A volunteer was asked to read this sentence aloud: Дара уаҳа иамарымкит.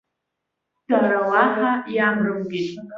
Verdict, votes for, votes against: accepted, 2, 1